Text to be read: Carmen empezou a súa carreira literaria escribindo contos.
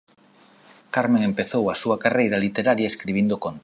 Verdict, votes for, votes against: rejected, 1, 2